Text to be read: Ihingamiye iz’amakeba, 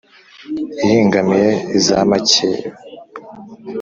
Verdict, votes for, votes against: accepted, 2, 0